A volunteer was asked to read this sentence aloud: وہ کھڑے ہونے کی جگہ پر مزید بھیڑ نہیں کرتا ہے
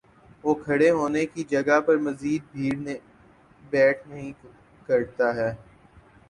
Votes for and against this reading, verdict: 2, 8, rejected